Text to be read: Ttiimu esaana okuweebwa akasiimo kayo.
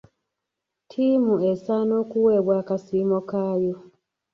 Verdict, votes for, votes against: rejected, 1, 2